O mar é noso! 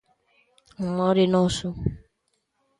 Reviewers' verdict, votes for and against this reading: accepted, 2, 1